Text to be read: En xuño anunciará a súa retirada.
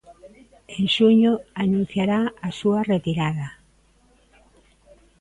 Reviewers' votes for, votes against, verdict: 2, 0, accepted